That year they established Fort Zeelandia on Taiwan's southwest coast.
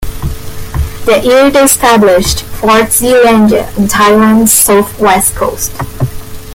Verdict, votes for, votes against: accepted, 2, 1